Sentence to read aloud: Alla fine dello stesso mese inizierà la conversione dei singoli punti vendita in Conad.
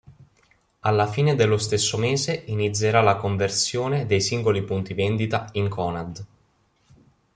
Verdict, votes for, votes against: accepted, 2, 0